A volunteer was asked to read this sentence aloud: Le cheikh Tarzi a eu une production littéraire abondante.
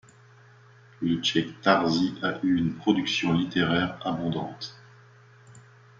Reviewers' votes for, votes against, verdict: 2, 0, accepted